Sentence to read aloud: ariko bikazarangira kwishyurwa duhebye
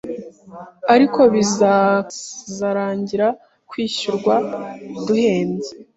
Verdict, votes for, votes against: rejected, 1, 2